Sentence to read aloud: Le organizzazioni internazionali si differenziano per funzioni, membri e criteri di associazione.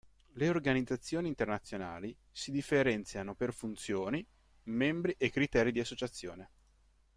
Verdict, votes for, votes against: accepted, 2, 0